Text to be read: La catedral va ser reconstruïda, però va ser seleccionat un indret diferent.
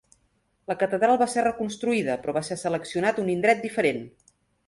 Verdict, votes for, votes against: accepted, 2, 0